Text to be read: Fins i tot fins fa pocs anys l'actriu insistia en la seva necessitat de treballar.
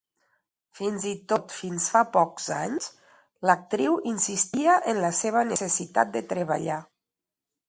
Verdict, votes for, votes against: accepted, 2, 0